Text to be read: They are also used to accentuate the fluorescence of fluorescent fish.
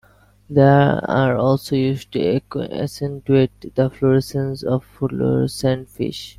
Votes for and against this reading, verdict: 0, 2, rejected